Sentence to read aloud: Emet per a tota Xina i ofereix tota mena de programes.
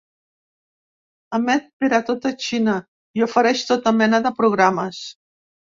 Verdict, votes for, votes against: accepted, 2, 0